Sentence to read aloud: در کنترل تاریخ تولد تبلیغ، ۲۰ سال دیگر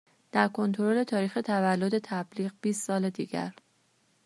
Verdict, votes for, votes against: rejected, 0, 2